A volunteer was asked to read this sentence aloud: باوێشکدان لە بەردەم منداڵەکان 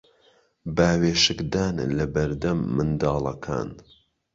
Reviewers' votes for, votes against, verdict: 2, 0, accepted